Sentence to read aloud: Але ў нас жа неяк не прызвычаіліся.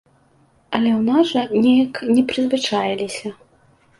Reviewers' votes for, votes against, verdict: 2, 0, accepted